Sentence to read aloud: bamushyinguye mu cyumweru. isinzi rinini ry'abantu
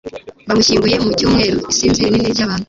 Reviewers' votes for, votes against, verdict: 2, 0, accepted